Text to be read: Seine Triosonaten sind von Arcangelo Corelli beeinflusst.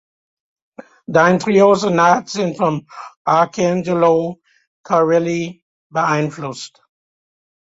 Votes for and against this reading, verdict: 0, 2, rejected